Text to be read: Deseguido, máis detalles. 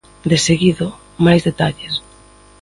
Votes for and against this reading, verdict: 2, 0, accepted